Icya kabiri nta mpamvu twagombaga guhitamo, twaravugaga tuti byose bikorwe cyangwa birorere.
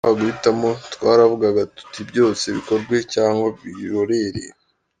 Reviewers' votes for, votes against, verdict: 1, 2, rejected